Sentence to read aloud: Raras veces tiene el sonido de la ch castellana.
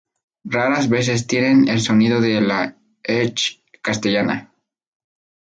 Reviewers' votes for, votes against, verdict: 2, 0, accepted